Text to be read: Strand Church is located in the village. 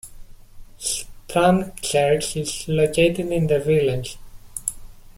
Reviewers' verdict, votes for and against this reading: accepted, 2, 0